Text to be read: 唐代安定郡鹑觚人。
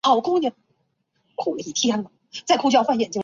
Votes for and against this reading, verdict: 0, 5, rejected